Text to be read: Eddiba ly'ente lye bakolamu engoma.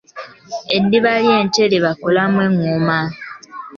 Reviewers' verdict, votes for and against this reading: accepted, 2, 0